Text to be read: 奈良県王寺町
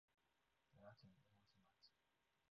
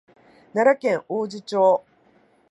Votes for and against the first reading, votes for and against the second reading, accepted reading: 0, 2, 4, 2, second